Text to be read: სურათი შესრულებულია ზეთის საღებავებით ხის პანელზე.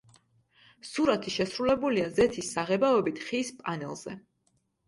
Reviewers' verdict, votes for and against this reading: accepted, 2, 0